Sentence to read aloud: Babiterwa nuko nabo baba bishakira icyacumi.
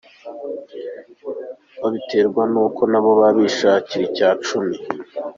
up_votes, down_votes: 0, 2